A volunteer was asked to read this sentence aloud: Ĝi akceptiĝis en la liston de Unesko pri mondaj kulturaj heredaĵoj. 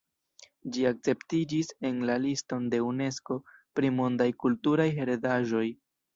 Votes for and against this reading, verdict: 0, 2, rejected